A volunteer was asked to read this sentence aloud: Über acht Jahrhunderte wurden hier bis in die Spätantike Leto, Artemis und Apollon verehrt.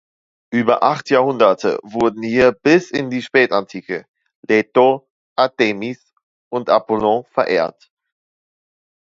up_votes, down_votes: 2, 0